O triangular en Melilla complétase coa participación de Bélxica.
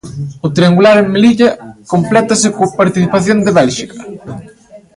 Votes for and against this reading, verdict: 0, 2, rejected